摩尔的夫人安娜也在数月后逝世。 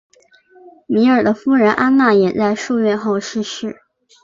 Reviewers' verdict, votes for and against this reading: accepted, 2, 0